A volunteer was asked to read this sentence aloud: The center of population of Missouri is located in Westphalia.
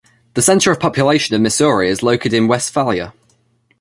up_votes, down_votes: 0, 2